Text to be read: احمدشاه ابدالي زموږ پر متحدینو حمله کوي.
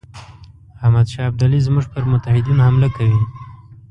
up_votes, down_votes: 2, 1